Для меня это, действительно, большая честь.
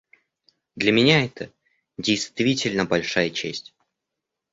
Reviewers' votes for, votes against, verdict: 2, 0, accepted